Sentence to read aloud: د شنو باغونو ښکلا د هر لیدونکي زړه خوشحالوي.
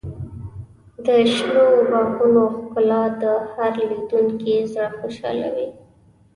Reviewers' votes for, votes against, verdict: 2, 0, accepted